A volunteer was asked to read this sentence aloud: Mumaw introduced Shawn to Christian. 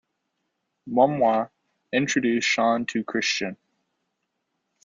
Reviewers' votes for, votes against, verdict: 1, 2, rejected